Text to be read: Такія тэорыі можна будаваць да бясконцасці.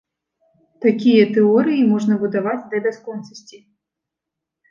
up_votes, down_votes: 2, 0